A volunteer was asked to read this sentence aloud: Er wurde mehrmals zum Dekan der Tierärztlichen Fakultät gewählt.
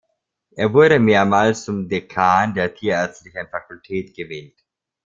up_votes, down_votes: 2, 0